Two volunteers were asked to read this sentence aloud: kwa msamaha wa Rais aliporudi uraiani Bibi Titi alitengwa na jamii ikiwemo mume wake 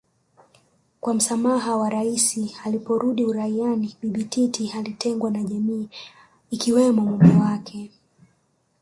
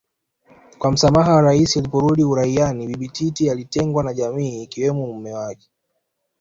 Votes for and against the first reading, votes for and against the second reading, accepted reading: 2, 0, 1, 2, first